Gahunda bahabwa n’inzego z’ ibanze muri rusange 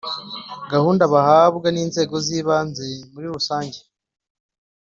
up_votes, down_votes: 2, 0